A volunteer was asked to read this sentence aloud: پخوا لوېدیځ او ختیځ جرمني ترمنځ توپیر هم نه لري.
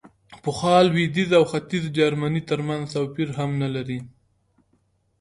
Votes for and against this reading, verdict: 2, 0, accepted